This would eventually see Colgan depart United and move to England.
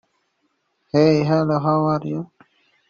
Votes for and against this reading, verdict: 1, 2, rejected